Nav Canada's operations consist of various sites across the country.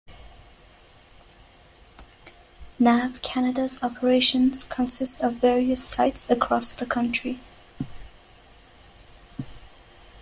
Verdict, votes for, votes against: accepted, 2, 0